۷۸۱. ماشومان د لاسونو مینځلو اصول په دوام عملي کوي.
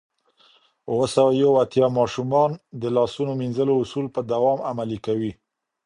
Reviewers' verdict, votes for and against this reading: rejected, 0, 2